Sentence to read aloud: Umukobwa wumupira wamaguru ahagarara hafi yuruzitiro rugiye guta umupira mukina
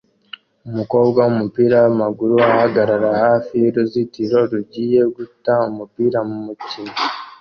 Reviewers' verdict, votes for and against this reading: accepted, 2, 0